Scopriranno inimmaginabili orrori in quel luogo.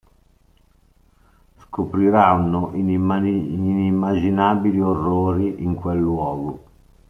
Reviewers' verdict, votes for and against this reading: rejected, 0, 2